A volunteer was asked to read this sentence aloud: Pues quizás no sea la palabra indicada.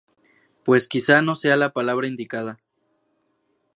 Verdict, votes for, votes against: rejected, 2, 2